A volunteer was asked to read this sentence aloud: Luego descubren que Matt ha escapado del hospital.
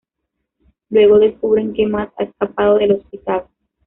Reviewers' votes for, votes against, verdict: 1, 2, rejected